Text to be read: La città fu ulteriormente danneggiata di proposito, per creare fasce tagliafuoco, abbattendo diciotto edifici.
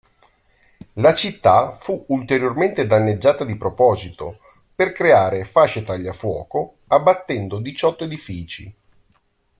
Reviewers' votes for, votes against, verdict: 2, 0, accepted